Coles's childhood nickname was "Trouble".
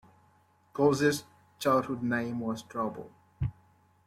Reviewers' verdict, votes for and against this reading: rejected, 0, 2